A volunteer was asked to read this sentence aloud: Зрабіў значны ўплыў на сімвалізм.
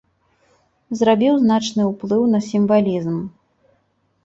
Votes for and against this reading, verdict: 2, 0, accepted